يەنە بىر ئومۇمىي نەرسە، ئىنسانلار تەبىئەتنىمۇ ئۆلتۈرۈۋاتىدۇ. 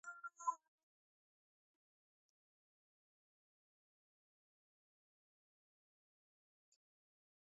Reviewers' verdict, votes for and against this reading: rejected, 0, 2